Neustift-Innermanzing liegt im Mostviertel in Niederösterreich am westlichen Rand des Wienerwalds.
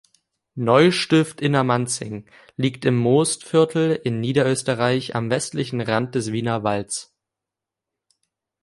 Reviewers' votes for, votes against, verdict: 1, 2, rejected